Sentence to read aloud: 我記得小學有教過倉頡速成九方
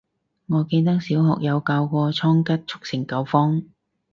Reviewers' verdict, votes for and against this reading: rejected, 0, 4